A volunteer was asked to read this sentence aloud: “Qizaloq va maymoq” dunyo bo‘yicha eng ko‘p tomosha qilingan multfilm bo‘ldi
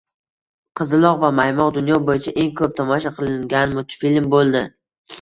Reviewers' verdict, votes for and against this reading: rejected, 1, 2